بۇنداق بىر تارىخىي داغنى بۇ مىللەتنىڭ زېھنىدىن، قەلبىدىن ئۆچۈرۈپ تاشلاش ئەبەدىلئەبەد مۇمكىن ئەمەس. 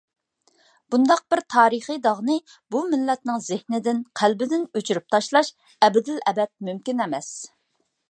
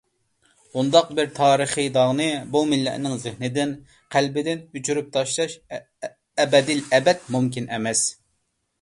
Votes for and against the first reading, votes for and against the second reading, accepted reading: 2, 0, 0, 2, first